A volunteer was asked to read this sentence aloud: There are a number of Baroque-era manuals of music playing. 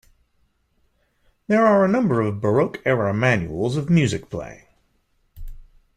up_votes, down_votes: 2, 0